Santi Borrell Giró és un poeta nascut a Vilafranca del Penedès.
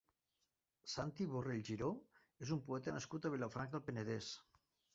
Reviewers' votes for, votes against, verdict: 1, 2, rejected